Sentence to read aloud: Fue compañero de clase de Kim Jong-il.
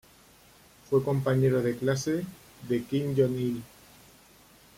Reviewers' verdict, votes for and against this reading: accepted, 2, 0